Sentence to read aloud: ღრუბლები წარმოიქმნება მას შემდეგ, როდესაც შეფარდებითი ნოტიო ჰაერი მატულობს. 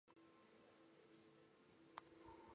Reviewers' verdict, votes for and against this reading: rejected, 0, 2